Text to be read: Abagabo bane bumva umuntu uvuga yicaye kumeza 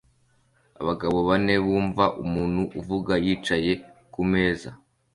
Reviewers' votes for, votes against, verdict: 2, 0, accepted